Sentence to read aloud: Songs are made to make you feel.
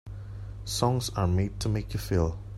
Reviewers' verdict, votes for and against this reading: accepted, 2, 0